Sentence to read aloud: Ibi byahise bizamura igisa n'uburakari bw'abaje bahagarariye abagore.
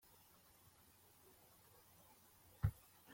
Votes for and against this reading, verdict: 0, 2, rejected